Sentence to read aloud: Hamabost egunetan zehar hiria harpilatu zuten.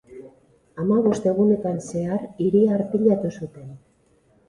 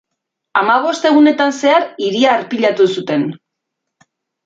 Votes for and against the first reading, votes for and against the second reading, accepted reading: 2, 4, 2, 0, second